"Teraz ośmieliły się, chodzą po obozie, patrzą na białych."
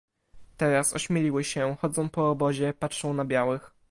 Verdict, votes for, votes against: accepted, 2, 0